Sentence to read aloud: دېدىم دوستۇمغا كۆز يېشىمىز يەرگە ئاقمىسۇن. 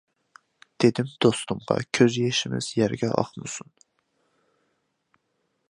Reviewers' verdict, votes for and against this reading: accepted, 2, 0